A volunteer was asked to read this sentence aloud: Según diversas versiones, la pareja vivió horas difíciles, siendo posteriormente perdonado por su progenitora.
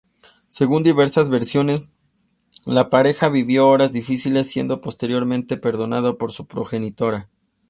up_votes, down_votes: 2, 0